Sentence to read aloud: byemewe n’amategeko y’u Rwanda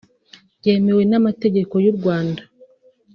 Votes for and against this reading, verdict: 3, 0, accepted